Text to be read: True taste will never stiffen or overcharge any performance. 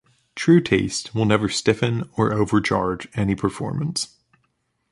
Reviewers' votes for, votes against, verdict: 2, 0, accepted